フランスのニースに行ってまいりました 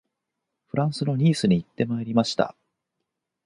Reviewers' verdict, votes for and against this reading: accepted, 4, 0